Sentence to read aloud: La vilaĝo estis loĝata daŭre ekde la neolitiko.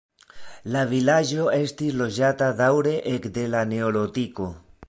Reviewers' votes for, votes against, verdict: 0, 2, rejected